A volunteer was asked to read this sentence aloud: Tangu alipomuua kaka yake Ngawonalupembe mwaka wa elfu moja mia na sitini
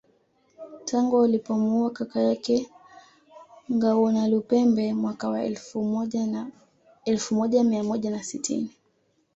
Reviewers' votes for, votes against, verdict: 1, 2, rejected